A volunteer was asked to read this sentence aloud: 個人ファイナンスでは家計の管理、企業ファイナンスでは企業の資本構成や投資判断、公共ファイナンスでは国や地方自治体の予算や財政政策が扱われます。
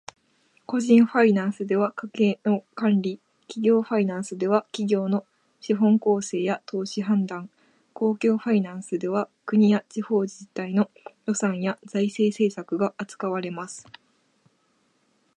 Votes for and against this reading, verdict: 2, 0, accepted